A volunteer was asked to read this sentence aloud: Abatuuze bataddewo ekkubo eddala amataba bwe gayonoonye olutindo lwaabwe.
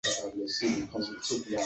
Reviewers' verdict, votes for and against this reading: rejected, 1, 2